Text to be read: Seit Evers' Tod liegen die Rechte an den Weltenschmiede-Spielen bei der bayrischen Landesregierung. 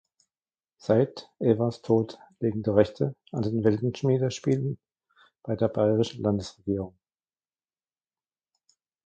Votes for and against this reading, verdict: 0, 2, rejected